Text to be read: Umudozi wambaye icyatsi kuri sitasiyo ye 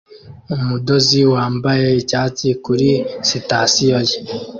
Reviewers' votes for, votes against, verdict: 2, 0, accepted